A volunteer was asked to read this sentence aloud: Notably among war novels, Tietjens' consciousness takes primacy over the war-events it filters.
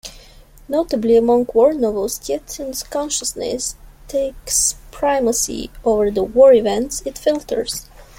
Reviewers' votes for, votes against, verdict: 0, 2, rejected